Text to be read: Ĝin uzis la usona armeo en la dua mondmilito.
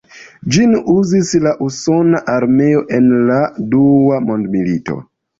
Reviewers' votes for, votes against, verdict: 2, 1, accepted